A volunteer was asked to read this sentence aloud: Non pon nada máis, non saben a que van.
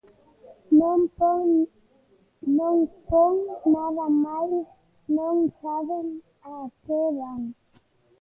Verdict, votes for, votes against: rejected, 0, 2